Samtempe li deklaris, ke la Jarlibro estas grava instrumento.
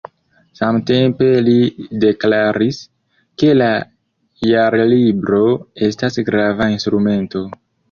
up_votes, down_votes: 0, 2